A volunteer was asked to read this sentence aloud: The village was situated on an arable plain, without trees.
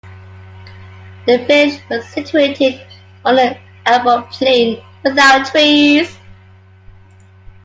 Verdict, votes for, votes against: rejected, 0, 2